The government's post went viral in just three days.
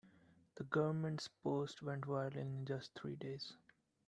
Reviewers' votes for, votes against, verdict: 2, 0, accepted